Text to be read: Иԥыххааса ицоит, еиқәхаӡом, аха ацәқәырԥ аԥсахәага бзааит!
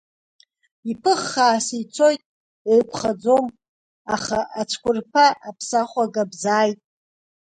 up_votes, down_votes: 1, 2